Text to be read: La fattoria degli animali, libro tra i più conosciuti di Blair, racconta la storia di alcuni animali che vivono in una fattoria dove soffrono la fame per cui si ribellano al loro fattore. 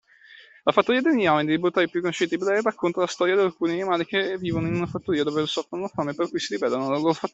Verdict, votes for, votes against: rejected, 0, 2